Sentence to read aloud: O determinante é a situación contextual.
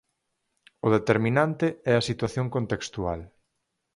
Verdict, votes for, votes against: accepted, 4, 0